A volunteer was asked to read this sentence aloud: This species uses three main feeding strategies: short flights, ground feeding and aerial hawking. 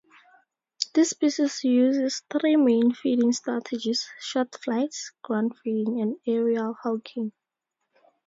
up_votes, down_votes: 2, 0